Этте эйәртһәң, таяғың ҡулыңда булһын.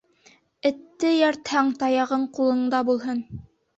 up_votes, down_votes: 2, 0